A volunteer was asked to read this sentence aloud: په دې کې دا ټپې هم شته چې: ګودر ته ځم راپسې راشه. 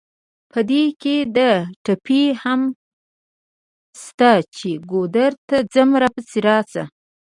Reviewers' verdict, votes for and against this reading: accepted, 2, 1